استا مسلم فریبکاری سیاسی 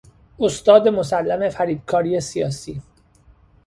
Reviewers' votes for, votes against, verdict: 1, 2, rejected